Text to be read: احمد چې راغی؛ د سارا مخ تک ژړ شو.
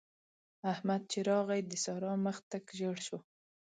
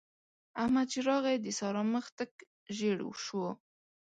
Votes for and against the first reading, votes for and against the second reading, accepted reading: 2, 0, 0, 2, first